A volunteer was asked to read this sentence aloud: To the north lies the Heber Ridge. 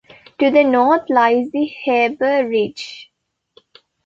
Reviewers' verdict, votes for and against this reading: rejected, 1, 2